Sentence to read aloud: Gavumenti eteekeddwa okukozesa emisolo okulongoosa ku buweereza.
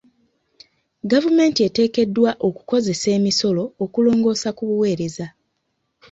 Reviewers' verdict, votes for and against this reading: accepted, 2, 0